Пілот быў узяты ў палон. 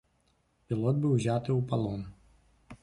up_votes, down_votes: 2, 0